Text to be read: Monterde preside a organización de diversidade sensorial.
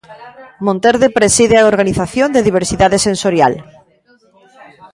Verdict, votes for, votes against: rejected, 0, 2